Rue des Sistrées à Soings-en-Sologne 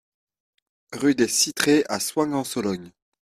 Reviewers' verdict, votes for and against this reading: accepted, 2, 0